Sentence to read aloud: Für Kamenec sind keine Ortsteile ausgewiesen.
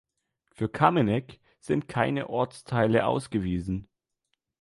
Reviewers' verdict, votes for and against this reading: accepted, 2, 0